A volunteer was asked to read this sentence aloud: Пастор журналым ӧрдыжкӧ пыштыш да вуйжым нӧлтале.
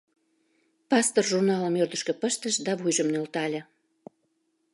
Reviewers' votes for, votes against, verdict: 2, 0, accepted